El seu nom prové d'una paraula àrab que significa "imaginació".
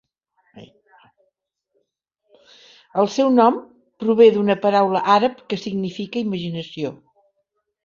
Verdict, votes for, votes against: accepted, 3, 0